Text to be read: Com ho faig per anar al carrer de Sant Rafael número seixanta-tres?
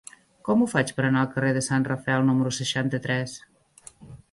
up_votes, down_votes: 1, 2